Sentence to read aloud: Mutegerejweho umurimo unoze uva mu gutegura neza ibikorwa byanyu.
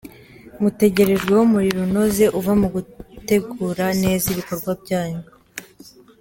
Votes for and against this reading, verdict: 2, 0, accepted